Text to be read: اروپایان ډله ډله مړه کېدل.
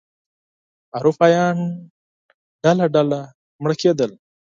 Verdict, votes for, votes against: accepted, 12, 0